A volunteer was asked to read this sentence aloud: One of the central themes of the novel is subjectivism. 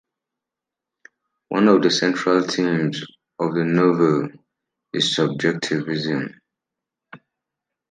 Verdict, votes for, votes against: accepted, 2, 0